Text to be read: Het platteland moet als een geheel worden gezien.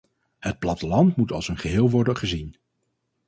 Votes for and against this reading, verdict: 4, 0, accepted